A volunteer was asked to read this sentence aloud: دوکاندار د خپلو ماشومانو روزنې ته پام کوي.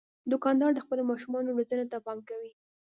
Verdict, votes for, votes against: accepted, 2, 0